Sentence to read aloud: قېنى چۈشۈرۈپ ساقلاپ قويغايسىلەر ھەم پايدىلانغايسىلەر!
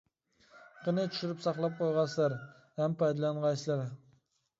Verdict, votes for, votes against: rejected, 0, 2